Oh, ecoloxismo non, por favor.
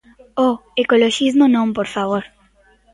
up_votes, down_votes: 1, 2